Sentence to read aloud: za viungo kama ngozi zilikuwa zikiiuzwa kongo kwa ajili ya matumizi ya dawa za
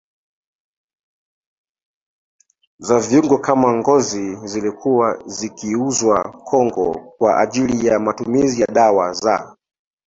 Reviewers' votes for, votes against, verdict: 4, 1, accepted